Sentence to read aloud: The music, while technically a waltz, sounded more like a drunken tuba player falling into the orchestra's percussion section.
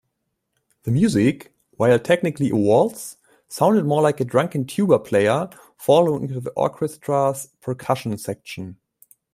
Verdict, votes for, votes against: rejected, 1, 2